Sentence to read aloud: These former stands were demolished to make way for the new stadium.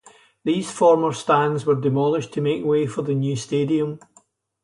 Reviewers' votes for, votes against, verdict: 4, 0, accepted